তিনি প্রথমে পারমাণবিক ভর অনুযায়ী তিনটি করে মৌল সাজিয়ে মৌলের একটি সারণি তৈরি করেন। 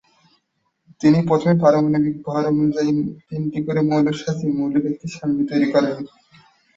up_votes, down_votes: 5, 15